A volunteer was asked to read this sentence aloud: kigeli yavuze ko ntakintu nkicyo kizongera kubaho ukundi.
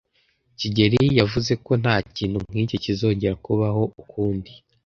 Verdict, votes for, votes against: accepted, 2, 0